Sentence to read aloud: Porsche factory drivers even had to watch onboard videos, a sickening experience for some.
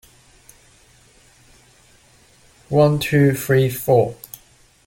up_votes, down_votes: 0, 2